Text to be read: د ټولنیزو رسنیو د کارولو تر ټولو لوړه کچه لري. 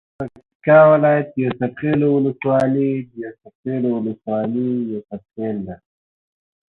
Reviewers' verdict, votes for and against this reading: rejected, 0, 2